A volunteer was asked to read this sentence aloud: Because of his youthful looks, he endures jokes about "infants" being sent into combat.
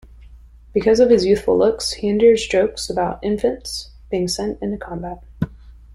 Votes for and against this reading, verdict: 2, 0, accepted